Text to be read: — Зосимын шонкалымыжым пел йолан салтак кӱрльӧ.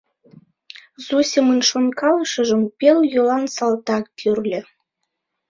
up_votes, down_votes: 0, 2